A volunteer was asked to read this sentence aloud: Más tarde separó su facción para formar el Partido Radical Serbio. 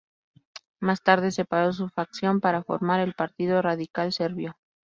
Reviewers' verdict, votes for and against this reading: accepted, 2, 0